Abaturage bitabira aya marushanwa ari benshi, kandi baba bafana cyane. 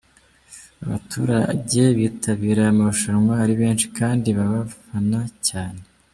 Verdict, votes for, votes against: accepted, 2, 1